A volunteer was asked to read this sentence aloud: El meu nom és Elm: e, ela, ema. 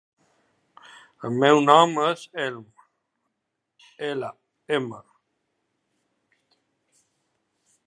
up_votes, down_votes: 0, 2